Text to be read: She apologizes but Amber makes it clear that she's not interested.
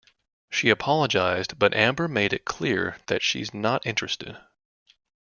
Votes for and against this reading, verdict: 1, 2, rejected